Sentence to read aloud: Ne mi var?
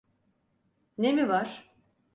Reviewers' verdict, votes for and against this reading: accepted, 4, 0